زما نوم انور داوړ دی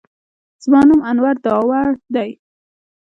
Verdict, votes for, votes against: rejected, 0, 2